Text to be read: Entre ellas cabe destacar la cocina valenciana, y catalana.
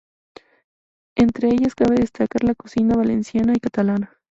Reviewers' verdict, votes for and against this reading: rejected, 2, 4